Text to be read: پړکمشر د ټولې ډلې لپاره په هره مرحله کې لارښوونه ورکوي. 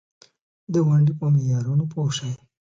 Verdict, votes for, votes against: rejected, 0, 2